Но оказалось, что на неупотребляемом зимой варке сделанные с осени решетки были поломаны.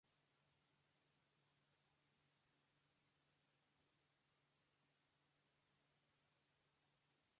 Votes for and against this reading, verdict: 0, 2, rejected